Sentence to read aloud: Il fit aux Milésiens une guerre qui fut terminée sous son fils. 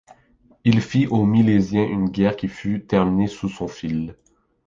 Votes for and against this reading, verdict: 1, 2, rejected